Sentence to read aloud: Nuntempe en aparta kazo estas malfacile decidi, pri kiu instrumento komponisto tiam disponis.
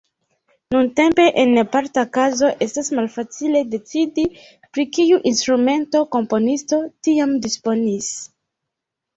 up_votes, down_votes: 0, 2